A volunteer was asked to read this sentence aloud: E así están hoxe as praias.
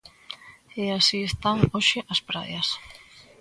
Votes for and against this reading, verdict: 2, 0, accepted